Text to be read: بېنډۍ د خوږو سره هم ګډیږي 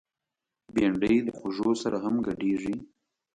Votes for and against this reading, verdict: 2, 0, accepted